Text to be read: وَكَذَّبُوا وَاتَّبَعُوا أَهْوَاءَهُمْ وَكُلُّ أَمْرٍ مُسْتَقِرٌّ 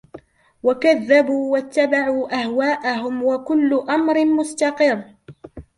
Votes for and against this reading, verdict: 2, 0, accepted